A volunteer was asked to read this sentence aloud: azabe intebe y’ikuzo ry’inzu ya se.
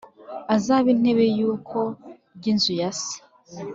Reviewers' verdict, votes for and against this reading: rejected, 1, 2